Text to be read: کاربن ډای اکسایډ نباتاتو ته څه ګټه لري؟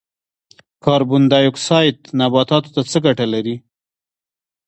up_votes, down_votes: 1, 2